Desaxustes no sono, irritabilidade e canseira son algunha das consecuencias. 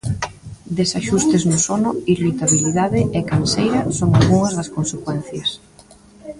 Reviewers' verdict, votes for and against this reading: rejected, 1, 2